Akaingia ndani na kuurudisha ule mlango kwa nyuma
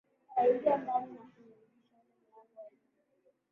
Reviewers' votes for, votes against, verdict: 0, 2, rejected